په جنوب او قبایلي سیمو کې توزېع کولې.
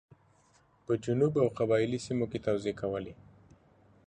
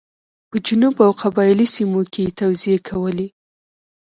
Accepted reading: first